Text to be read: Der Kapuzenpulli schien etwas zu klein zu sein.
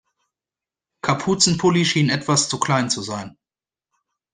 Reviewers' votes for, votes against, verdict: 0, 2, rejected